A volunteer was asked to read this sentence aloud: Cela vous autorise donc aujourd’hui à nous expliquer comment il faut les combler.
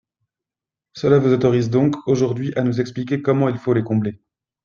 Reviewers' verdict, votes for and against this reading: accepted, 2, 0